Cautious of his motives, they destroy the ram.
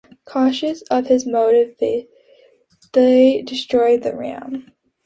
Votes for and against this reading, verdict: 1, 2, rejected